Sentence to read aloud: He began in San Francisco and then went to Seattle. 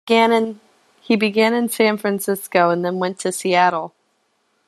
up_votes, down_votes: 0, 2